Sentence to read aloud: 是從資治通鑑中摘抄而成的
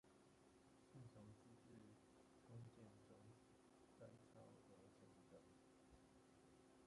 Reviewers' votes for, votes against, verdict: 0, 2, rejected